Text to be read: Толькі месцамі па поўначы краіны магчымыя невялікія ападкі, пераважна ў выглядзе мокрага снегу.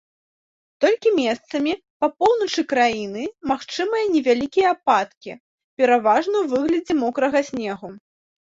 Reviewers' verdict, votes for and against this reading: accepted, 2, 0